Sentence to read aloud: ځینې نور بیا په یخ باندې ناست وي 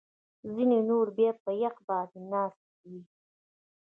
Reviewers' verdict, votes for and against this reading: rejected, 1, 2